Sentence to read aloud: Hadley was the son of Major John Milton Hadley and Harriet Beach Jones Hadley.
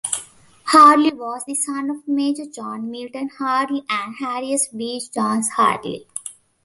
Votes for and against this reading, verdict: 0, 2, rejected